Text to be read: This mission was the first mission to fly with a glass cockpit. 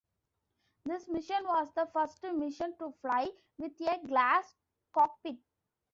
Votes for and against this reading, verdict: 1, 2, rejected